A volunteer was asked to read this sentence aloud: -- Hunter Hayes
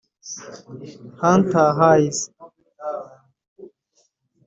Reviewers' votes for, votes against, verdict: 0, 3, rejected